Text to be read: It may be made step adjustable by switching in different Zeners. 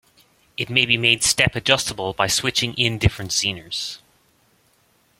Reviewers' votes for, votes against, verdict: 2, 0, accepted